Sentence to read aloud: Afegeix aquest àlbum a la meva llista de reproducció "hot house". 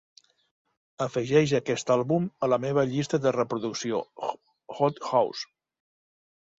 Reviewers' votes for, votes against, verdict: 0, 2, rejected